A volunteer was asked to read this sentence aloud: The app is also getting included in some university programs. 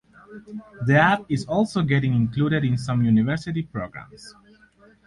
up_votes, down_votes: 4, 0